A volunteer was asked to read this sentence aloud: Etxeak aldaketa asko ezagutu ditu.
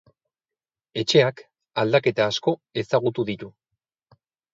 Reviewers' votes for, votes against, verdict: 2, 0, accepted